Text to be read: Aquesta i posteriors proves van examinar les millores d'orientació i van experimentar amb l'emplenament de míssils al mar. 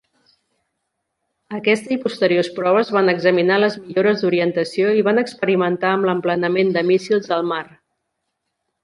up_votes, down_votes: 2, 1